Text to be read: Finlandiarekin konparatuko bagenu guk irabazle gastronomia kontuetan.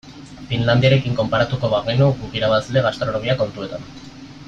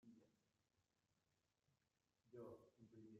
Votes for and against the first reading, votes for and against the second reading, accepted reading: 2, 0, 0, 2, first